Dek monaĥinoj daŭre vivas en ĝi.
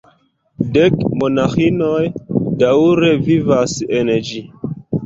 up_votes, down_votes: 0, 2